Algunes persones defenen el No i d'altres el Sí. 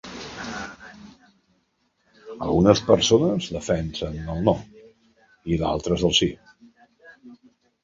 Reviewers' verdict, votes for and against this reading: accepted, 2, 1